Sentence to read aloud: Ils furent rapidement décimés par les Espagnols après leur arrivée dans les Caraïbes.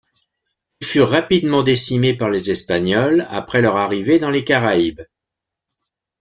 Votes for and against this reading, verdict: 0, 2, rejected